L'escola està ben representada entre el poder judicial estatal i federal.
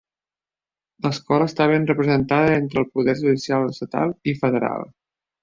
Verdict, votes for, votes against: accepted, 2, 0